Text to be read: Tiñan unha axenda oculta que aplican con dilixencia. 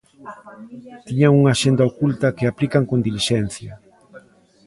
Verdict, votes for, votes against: rejected, 0, 2